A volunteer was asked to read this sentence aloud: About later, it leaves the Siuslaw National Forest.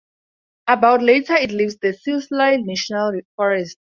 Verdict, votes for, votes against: rejected, 2, 4